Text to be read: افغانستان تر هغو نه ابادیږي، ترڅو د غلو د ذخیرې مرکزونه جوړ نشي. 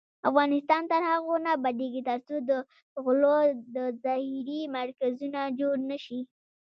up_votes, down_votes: 1, 2